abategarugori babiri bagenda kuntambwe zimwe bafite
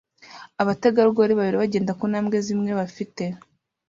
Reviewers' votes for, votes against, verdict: 2, 0, accepted